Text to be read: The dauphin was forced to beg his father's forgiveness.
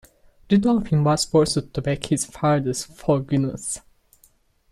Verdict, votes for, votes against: rejected, 1, 2